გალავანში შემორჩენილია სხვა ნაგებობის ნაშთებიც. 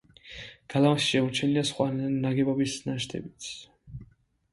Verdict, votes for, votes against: rejected, 1, 2